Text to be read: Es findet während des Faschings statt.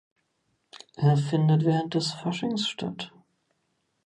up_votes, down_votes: 1, 2